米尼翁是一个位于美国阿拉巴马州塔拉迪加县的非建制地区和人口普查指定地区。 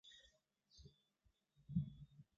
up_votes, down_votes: 0, 2